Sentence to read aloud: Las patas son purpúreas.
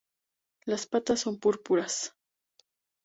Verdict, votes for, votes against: rejected, 0, 4